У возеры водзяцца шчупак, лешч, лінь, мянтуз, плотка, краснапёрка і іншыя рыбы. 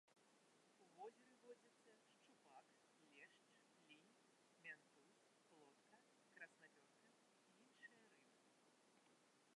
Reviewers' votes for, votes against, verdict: 0, 2, rejected